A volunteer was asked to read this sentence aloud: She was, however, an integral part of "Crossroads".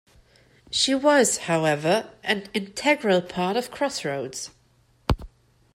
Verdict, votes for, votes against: accepted, 2, 0